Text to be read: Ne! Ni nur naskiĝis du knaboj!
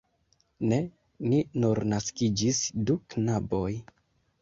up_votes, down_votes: 0, 2